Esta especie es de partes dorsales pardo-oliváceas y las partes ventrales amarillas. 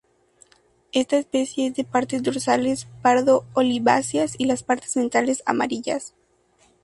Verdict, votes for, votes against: accepted, 2, 0